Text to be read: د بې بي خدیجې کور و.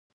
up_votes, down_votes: 0, 2